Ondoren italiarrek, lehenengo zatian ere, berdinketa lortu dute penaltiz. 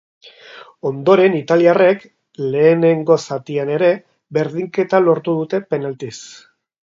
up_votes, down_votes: 3, 0